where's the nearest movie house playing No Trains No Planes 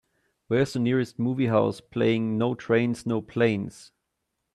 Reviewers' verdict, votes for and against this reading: accepted, 4, 0